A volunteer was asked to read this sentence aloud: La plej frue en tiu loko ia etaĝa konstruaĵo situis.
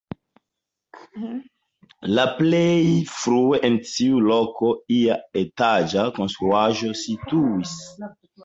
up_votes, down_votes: 2, 0